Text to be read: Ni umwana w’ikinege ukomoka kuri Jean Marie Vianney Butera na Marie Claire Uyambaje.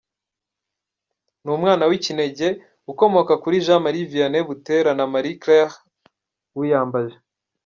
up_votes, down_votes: 2, 0